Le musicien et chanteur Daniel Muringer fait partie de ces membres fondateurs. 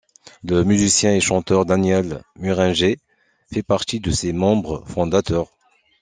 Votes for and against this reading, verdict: 2, 0, accepted